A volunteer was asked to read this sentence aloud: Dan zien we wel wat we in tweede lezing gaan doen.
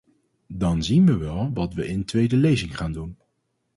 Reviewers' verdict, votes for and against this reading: accepted, 2, 0